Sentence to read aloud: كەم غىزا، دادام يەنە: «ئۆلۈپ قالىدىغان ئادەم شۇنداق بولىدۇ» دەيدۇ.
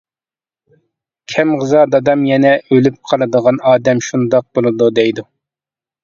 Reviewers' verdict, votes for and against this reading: accepted, 2, 0